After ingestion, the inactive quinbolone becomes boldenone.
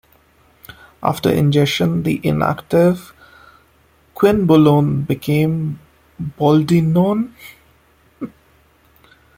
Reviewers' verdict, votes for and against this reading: accepted, 2, 0